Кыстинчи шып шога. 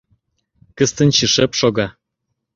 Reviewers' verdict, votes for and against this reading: rejected, 1, 2